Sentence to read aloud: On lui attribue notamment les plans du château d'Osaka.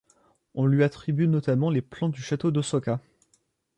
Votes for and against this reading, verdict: 1, 2, rejected